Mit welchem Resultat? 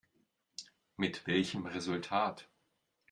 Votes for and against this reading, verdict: 2, 0, accepted